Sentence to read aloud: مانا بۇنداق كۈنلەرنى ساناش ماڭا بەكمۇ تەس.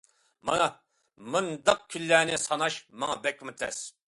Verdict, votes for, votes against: accepted, 2, 0